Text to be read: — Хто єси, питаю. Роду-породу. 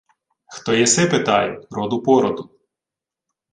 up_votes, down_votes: 2, 0